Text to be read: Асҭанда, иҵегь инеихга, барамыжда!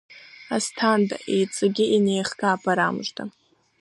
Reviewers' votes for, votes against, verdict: 2, 1, accepted